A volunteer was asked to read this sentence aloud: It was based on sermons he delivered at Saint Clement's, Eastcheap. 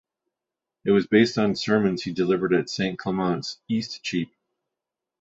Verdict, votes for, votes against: accepted, 2, 1